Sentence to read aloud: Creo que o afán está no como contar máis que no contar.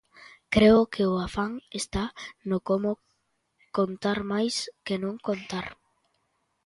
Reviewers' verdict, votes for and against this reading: rejected, 1, 2